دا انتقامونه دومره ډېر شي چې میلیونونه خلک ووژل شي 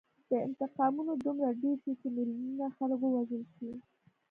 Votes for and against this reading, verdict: 2, 0, accepted